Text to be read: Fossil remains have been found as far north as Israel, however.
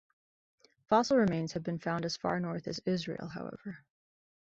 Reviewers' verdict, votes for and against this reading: accepted, 2, 1